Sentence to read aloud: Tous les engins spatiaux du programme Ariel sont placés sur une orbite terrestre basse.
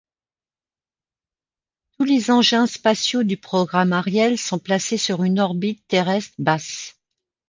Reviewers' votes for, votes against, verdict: 3, 0, accepted